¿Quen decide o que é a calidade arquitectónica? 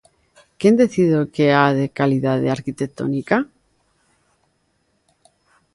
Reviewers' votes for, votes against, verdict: 1, 2, rejected